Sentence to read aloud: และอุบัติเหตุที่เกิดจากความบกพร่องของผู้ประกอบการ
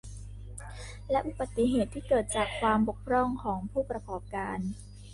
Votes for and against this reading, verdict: 2, 1, accepted